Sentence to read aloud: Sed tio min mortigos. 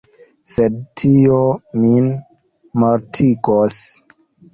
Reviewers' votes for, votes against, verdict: 2, 0, accepted